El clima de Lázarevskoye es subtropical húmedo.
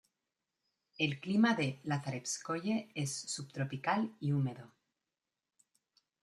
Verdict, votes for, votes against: rejected, 1, 2